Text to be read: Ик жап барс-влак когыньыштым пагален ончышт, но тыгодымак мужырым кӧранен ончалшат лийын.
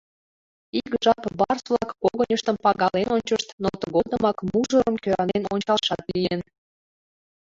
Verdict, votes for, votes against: accepted, 2, 1